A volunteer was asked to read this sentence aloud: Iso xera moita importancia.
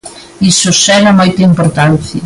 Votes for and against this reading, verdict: 2, 1, accepted